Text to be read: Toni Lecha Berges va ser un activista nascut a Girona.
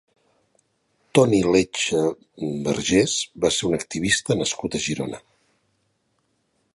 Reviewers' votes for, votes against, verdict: 1, 2, rejected